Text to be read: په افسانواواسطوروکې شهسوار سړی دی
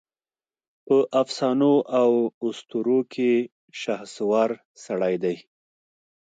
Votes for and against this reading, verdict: 2, 0, accepted